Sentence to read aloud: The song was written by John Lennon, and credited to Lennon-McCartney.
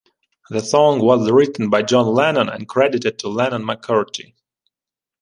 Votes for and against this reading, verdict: 0, 2, rejected